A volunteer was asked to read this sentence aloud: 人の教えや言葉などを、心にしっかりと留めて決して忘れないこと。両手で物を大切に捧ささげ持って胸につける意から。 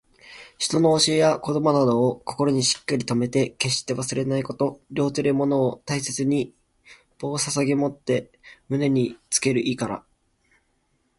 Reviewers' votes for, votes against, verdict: 0, 2, rejected